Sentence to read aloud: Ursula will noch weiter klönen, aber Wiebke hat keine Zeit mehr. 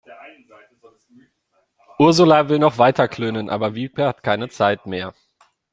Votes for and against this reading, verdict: 2, 0, accepted